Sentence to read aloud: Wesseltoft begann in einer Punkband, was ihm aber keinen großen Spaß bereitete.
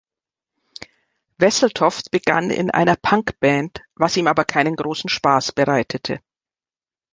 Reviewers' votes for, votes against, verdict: 2, 0, accepted